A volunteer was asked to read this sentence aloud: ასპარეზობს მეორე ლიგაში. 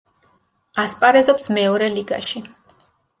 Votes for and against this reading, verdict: 2, 0, accepted